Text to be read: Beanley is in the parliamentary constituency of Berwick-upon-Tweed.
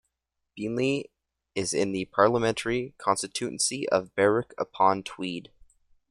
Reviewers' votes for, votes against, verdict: 1, 2, rejected